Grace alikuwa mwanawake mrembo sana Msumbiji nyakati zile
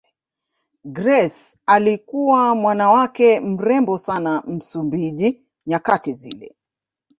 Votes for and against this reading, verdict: 2, 0, accepted